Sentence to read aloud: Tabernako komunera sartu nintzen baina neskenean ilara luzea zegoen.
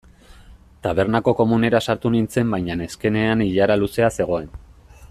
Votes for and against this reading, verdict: 2, 0, accepted